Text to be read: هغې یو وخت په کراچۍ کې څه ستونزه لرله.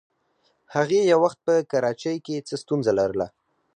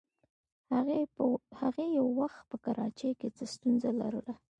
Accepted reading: first